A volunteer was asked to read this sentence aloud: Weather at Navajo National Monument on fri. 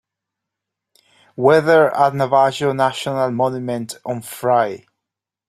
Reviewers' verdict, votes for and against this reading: rejected, 1, 2